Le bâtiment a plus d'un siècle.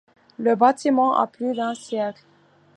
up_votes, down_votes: 2, 0